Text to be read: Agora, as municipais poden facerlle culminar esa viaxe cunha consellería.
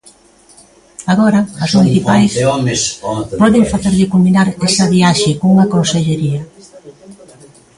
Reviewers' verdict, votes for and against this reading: rejected, 0, 2